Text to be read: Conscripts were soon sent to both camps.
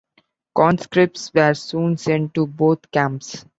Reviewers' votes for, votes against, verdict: 3, 0, accepted